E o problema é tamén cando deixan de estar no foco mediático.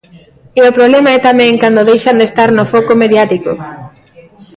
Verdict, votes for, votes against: accepted, 2, 0